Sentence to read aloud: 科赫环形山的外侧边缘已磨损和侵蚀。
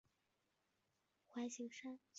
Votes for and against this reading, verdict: 1, 4, rejected